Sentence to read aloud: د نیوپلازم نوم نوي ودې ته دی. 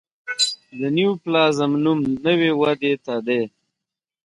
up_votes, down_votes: 1, 2